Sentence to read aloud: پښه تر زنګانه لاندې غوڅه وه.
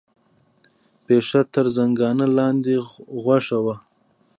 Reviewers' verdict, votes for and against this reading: rejected, 1, 2